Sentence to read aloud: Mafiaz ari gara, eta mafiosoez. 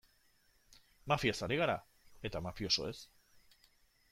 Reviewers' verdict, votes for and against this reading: accepted, 2, 0